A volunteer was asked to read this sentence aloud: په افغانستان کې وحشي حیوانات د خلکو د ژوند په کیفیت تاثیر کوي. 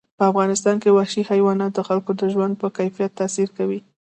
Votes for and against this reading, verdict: 2, 0, accepted